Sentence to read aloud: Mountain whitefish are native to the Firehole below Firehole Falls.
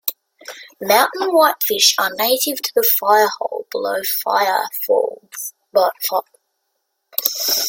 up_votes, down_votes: 0, 2